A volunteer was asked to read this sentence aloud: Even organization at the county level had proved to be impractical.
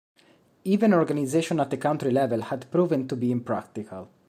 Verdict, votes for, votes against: rejected, 1, 2